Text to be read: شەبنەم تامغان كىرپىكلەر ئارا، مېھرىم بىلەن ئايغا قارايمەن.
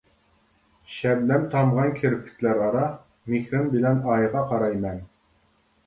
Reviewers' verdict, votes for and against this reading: rejected, 1, 2